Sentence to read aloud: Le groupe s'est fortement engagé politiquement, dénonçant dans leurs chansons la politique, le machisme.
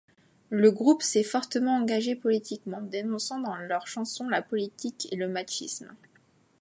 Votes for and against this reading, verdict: 2, 3, rejected